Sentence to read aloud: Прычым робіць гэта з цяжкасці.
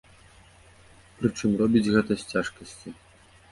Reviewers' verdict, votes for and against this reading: accepted, 2, 0